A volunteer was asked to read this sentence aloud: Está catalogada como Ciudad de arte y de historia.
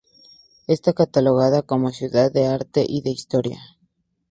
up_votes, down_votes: 4, 0